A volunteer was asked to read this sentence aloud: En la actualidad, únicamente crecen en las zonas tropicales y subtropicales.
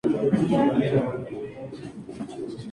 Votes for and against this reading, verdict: 0, 2, rejected